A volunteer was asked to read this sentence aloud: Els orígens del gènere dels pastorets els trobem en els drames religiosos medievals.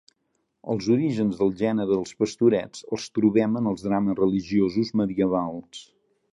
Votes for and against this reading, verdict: 2, 0, accepted